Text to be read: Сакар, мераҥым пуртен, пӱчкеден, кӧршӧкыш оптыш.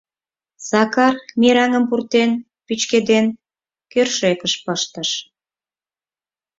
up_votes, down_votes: 0, 4